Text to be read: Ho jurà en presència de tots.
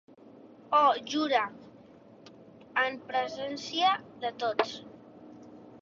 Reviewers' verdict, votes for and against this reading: rejected, 0, 2